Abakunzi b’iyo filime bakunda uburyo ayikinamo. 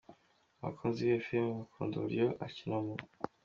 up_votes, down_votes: 2, 1